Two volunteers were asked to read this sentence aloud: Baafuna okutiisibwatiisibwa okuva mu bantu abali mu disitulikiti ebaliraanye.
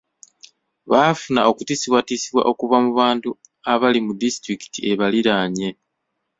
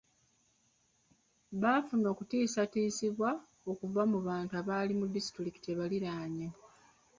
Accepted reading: first